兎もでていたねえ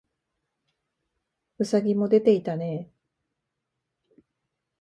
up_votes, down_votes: 2, 0